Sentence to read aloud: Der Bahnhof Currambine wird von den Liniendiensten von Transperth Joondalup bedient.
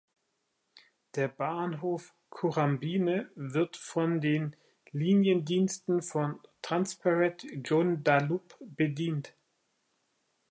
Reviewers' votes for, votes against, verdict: 1, 2, rejected